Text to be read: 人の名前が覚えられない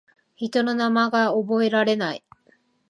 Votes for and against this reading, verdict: 0, 2, rejected